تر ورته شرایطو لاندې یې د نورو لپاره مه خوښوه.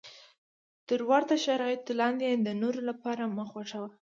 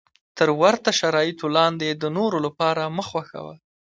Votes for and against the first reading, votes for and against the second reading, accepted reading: 1, 2, 2, 0, second